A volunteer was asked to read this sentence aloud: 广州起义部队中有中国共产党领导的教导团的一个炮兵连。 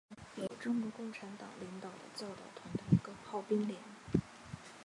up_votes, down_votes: 0, 2